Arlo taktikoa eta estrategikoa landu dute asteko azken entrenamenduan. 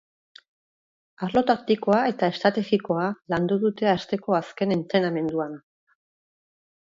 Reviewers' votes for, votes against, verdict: 2, 0, accepted